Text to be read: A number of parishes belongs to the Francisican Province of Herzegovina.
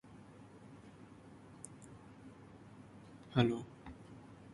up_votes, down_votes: 0, 2